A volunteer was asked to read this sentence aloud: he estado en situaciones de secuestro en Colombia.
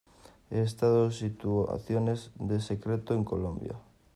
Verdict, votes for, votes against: rejected, 0, 2